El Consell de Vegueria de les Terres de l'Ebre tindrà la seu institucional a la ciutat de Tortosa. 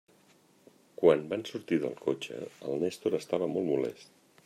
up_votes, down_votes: 0, 2